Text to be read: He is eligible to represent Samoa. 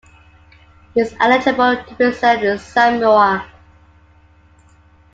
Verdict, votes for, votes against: rejected, 0, 2